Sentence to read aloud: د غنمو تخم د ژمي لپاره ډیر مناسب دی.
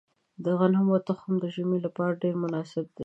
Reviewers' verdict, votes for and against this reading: accepted, 2, 0